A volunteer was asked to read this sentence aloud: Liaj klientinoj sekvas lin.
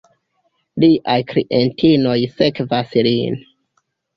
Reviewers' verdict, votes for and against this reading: accepted, 2, 0